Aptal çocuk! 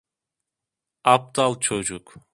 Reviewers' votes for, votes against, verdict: 2, 0, accepted